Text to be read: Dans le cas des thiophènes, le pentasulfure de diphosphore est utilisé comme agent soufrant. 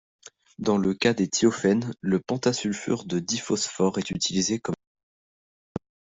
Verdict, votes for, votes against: rejected, 0, 2